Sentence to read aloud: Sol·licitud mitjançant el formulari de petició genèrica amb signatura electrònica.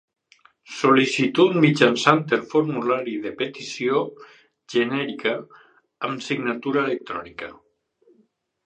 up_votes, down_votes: 2, 0